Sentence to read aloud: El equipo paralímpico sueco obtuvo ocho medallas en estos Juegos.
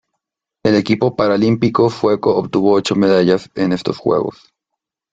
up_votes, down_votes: 3, 0